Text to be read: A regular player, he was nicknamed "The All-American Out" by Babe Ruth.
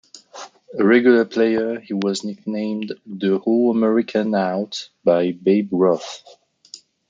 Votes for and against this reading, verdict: 2, 0, accepted